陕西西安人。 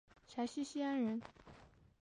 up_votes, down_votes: 1, 2